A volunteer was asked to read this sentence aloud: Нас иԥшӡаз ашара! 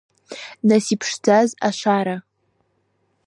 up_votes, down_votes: 2, 0